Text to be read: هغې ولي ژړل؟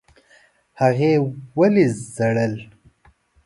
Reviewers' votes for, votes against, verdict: 0, 2, rejected